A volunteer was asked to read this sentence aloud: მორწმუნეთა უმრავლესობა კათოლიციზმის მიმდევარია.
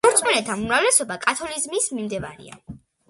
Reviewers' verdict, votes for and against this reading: accepted, 2, 0